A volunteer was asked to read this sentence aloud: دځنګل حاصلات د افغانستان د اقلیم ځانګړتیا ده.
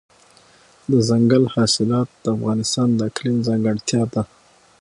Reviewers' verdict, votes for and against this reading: accepted, 6, 0